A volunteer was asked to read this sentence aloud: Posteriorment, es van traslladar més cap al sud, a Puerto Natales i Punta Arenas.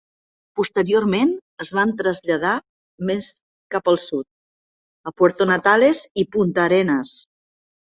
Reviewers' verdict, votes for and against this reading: accepted, 2, 0